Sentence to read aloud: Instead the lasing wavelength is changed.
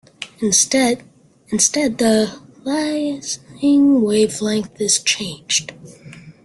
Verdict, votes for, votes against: rejected, 0, 2